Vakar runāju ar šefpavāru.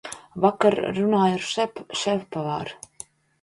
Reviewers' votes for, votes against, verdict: 0, 2, rejected